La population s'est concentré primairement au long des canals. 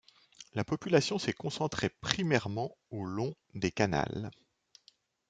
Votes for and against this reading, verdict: 2, 0, accepted